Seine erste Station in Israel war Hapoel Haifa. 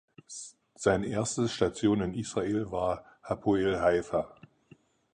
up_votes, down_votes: 4, 0